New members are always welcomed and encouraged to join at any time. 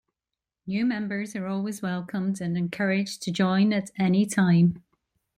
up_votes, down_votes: 2, 0